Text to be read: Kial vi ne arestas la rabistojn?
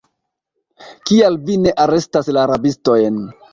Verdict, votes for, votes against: rejected, 1, 2